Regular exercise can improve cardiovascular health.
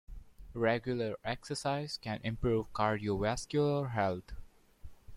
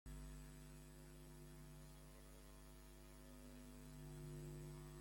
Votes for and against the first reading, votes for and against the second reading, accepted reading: 2, 0, 0, 2, first